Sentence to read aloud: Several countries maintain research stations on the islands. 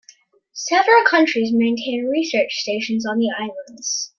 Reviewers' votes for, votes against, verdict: 2, 0, accepted